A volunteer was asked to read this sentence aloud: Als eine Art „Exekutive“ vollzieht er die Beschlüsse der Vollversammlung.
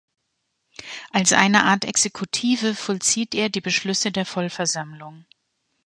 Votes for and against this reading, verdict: 0, 2, rejected